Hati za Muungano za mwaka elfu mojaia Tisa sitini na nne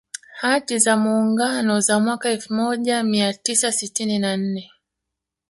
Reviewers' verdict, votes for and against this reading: rejected, 0, 2